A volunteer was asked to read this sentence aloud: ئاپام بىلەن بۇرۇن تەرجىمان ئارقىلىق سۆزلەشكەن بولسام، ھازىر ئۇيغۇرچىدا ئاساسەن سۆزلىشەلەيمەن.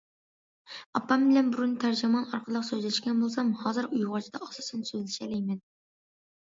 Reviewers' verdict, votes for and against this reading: accepted, 2, 0